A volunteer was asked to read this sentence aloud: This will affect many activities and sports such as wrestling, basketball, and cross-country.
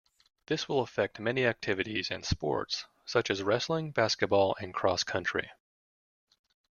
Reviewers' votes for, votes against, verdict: 2, 0, accepted